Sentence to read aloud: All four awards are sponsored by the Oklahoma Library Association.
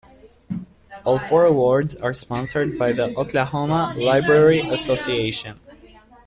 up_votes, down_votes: 1, 2